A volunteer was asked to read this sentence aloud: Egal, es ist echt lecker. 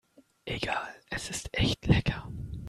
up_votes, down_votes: 2, 0